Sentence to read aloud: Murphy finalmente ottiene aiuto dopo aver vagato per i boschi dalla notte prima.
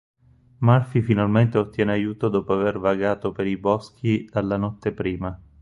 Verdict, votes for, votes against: rejected, 0, 4